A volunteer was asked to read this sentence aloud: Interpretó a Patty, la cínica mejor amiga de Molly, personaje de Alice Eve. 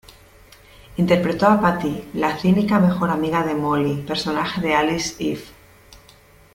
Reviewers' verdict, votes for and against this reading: accepted, 2, 0